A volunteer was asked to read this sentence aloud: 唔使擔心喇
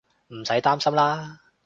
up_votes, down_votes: 2, 0